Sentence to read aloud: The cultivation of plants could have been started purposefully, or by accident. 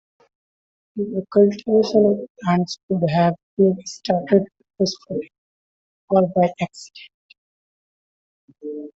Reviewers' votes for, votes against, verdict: 2, 1, accepted